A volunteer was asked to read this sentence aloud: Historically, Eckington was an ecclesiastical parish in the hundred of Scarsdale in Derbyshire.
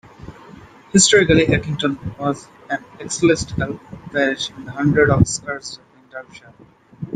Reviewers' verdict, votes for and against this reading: accepted, 2, 1